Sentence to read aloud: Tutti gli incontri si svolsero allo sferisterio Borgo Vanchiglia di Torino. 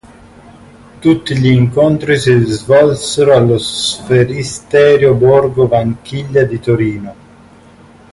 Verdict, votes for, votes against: rejected, 1, 2